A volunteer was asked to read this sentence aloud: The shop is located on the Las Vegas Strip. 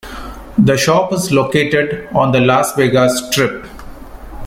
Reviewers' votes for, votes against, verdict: 2, 0, accepted